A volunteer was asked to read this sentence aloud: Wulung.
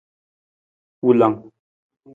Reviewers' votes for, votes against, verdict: 0, 2, rejected